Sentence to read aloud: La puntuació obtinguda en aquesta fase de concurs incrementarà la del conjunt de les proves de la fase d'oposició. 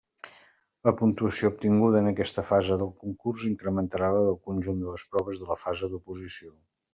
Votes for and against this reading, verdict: 0, 2, rejected